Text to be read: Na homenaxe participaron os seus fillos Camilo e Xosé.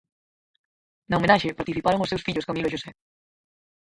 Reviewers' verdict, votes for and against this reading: rejected, 0, 4